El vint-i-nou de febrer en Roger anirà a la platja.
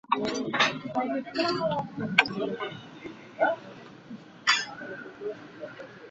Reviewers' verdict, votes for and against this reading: rejected, 1, 2